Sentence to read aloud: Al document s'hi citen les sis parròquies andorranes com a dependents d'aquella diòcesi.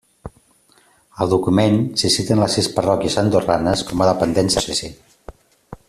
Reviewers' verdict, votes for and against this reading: rejected, 0, 2